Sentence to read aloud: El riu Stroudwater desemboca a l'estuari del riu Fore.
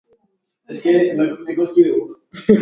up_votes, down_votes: 0, 2